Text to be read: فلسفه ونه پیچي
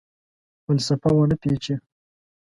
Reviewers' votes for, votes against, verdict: 2, 0, accepted